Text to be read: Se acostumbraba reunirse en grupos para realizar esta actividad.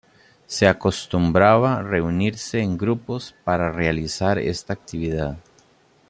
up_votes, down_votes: 1, 2